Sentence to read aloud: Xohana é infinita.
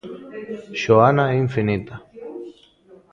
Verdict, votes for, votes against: rejected, 0, 2